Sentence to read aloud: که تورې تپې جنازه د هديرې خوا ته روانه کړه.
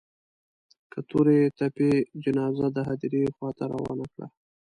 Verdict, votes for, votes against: accepted, 2, 0